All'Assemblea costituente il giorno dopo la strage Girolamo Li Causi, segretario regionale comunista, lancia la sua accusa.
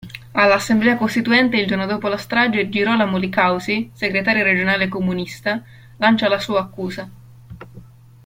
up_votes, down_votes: 2, 0